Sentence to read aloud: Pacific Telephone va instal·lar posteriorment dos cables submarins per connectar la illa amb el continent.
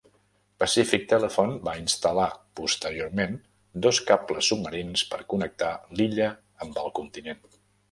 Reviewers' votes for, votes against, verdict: 0, 2, rejected